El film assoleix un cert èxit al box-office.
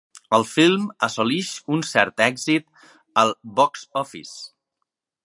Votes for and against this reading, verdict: 2, 0, accepted